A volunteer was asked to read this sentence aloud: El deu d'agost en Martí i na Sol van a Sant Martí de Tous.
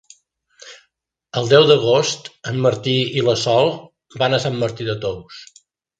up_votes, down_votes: 0, 2